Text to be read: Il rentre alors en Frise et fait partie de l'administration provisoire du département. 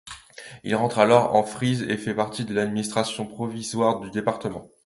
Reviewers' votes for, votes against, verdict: 2, 0, accepted